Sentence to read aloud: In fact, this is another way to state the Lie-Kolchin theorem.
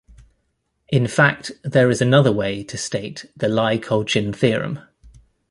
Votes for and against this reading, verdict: 1, 2, rejected